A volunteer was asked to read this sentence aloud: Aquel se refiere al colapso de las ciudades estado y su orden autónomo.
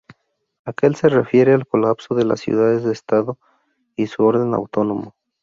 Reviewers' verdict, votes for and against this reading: rejected, 2, 2